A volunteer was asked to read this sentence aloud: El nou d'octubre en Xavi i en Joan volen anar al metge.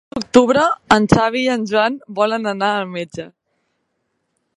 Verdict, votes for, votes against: rejected, 0, 2